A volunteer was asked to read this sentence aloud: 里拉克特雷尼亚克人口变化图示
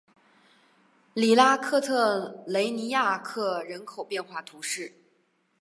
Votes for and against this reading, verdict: 3, 1, accepted